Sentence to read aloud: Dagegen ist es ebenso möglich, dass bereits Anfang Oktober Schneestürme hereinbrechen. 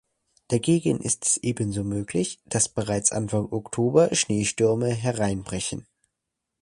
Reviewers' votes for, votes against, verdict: 2, 0, accepted